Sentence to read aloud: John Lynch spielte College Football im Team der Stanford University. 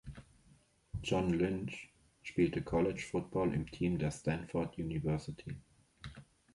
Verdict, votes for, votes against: accepted, 2, 0